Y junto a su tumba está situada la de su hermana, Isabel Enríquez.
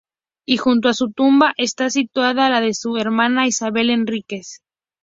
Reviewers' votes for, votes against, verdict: 2, 0, accepted